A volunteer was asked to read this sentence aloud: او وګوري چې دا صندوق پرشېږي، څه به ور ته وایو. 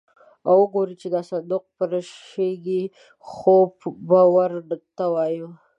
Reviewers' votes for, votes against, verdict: 0, 2, rejected